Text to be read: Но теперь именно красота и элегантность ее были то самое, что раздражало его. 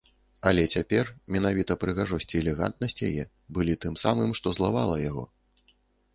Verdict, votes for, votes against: rejected, 0, 2